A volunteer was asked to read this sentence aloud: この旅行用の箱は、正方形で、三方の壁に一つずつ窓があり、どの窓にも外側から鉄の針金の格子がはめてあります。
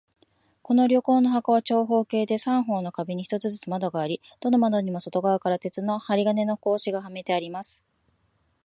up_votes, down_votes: 1, 2